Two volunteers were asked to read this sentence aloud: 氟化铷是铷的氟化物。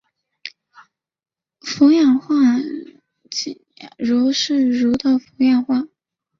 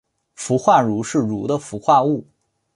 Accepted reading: second